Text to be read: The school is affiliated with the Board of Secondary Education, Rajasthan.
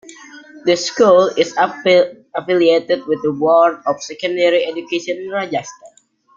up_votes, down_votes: 0, 2